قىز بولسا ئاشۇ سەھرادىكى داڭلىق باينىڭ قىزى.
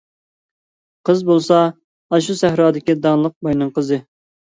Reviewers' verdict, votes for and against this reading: accepted, 2, 0